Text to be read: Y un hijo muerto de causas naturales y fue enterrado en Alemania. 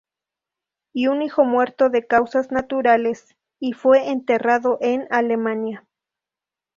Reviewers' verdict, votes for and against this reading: accepted, 2, 0